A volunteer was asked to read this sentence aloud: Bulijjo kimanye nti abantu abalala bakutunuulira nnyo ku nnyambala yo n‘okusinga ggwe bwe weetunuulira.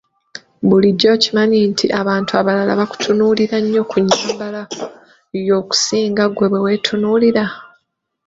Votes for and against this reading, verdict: 1, 2, rejected